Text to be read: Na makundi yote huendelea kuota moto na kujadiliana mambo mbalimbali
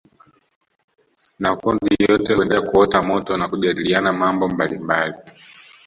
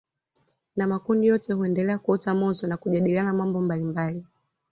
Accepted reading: second